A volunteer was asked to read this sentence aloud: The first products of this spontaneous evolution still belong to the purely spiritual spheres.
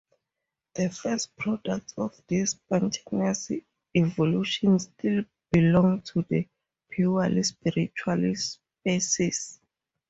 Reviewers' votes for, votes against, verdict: 0, 2, rejected